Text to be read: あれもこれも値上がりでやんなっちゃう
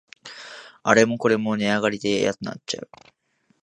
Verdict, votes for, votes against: accepted, 2, 0